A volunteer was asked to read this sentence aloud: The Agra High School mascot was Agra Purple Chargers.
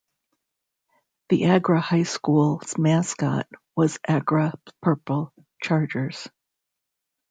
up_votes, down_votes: 2, 0